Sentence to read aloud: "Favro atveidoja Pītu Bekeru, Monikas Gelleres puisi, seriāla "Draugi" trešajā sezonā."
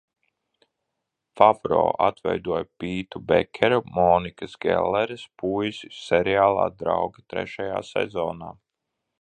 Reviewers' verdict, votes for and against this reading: accepted, 2, 1